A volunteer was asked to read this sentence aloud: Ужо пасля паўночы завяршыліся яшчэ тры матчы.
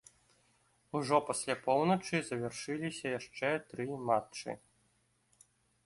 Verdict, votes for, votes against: rejected, 1, 2